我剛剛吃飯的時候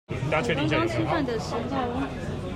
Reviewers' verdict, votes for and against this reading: rejected, 0, 2